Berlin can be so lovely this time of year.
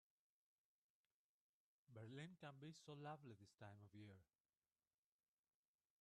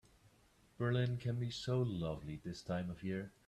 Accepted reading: second